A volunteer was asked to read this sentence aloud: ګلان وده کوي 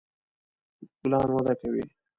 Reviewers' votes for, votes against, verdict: 0, 2, rejected